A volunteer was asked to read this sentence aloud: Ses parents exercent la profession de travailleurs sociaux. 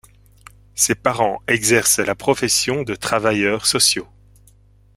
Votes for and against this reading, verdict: 2, 0, accepted